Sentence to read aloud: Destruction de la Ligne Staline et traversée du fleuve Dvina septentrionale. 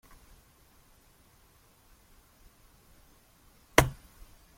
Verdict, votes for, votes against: rejected, 1, 2